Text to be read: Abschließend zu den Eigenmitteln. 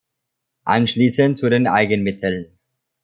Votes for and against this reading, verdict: 0, 2, rejected